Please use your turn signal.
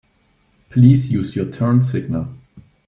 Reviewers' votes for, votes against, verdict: 2, 0, accepted